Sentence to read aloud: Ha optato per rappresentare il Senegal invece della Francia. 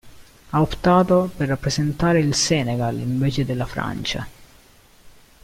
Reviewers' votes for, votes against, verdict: 2, 1, accepted